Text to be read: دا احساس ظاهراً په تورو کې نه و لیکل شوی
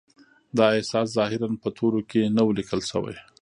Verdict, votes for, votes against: rejected, 1, 2